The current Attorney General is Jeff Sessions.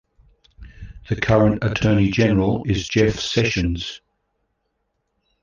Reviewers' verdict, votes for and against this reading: accepted, 3, 1